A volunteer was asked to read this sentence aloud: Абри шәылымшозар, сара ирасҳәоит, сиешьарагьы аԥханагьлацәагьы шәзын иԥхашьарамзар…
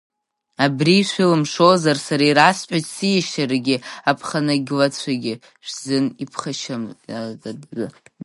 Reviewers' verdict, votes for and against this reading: rejected, 0, 3